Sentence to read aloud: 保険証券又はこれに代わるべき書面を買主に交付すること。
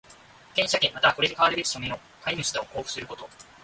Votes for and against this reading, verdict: 1, 2, rejected